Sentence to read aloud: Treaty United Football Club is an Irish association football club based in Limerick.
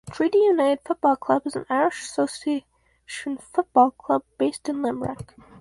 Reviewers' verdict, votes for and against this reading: rejected, 0, 4